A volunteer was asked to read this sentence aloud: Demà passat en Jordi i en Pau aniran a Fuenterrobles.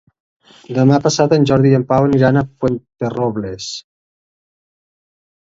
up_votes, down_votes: 1, 2